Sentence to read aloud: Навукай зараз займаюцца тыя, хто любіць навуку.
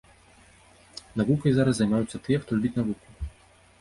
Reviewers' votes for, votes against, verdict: 0, 2, rejected